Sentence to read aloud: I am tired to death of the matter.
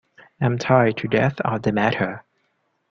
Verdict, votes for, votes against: rejected, 1, 2